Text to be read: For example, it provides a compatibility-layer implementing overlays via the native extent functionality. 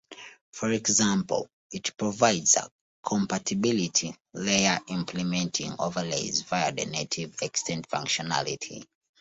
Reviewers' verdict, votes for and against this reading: accepted, 2, 1